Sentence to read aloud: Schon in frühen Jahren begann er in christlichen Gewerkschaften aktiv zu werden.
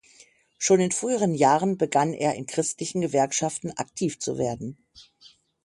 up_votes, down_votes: 0, 6